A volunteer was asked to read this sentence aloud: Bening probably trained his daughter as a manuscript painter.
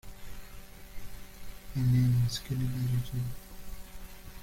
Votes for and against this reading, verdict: 0, 2, rejected